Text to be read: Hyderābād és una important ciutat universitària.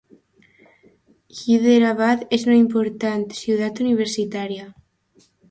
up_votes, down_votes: 2, 0